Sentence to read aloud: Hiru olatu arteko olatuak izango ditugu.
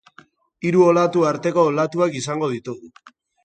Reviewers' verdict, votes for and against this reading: rejected, 0, 2